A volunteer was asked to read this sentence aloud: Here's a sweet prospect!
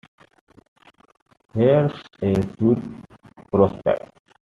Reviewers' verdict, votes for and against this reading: rejected, 1, 2